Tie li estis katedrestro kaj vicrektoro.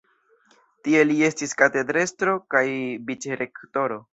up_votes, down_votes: 1, 2